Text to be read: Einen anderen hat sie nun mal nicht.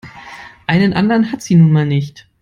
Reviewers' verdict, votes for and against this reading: accepted, 2, 0